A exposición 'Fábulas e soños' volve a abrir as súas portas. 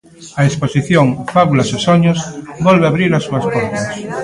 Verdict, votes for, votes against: accepted, 2, 1